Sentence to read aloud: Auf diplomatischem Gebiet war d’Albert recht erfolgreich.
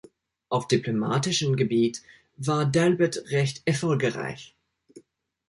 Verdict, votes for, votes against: rejected, 1, 2